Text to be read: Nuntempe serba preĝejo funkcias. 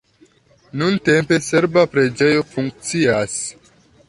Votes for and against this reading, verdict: 2, 1, accepted